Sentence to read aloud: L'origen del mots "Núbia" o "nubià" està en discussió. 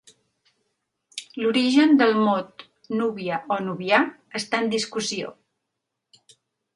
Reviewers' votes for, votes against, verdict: 1, 2, rejected